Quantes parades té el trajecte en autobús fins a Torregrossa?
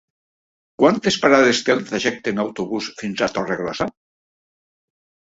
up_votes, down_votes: 3, 0